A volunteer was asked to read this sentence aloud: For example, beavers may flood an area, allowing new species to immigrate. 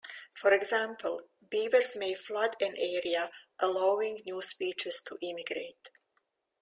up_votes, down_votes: 2, 0